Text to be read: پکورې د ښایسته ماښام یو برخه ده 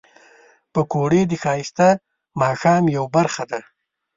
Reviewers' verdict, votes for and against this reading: accepted, 2, 0